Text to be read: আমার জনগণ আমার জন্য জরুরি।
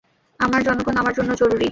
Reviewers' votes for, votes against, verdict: 0, 2, rejected